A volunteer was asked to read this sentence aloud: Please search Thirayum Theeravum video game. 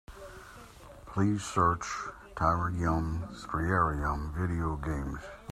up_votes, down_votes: 0, 2